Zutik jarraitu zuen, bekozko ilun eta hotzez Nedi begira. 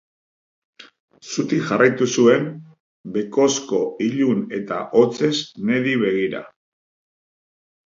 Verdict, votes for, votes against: rejected, 1, 2